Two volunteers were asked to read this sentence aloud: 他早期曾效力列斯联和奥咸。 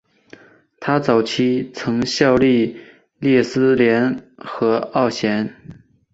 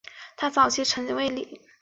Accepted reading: first